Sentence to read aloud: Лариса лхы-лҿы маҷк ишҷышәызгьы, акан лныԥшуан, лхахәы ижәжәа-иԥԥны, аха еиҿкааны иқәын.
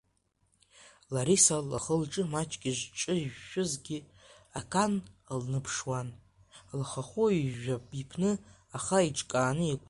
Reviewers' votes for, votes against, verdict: 0, 2, rejected